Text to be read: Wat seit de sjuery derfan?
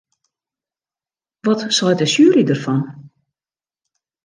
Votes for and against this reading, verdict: 2, 0, accepted